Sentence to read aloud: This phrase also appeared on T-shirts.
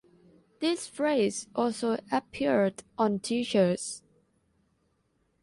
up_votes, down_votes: 2, 0